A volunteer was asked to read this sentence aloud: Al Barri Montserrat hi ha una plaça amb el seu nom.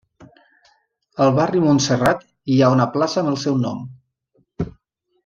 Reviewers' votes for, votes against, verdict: 3, 0, accepted